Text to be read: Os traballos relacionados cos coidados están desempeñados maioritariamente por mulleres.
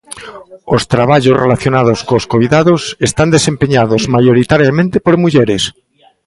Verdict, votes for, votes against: rejected, 0, 2